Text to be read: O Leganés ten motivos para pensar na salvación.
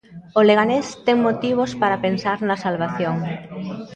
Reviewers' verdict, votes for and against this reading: accepted, 2, 0